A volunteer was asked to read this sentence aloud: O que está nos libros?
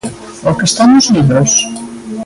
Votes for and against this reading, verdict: 2, 0, accepted